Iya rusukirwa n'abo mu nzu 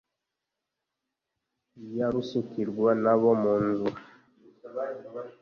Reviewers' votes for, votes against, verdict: 2, 0, accepted